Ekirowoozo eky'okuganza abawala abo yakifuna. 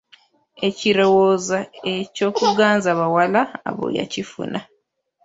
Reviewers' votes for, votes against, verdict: 0, 2, rejected